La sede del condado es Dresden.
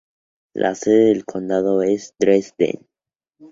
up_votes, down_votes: 0, 2